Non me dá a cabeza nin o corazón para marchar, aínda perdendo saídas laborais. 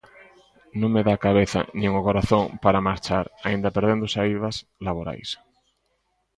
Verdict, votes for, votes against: accepted, 2, 0